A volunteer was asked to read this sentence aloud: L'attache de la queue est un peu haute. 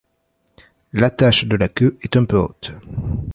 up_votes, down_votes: 0, 2